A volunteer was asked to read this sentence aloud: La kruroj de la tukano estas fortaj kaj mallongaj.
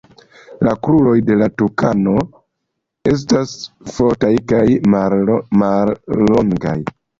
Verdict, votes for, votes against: rejected, 1, 2